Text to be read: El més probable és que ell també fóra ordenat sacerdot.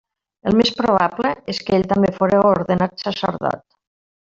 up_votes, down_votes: 1, 2